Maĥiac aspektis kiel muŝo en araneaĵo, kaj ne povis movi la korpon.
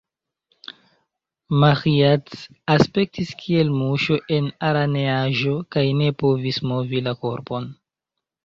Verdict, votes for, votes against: rejected, 1, 2